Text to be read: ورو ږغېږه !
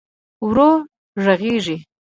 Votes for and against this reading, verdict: 1, 2, rejected